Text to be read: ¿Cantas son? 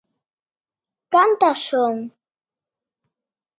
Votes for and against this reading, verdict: 2, 1, accepted